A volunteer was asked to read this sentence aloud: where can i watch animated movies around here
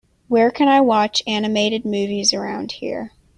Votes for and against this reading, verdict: 2, 0, accepted